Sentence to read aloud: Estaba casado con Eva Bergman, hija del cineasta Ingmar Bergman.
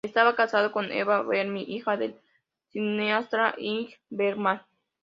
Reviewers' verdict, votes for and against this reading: rejected, 0, 2